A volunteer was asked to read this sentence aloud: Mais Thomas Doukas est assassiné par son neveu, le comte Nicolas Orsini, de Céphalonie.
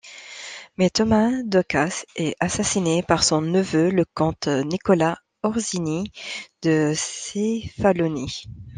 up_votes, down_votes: 1, 2